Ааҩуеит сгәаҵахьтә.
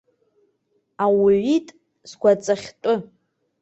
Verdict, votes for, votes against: rejected, 0, 2